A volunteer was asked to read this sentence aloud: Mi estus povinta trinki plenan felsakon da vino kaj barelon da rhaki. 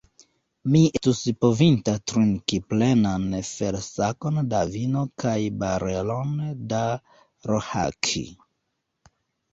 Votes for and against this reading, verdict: 0, 2, rejected